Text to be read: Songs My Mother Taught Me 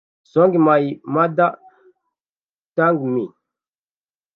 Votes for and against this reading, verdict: 0, 2, rejected